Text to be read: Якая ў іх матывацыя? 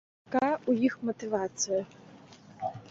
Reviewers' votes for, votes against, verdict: 0, 2, rejected